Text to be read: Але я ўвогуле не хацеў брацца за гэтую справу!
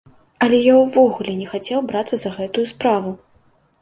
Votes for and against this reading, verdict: 2, 0, accepted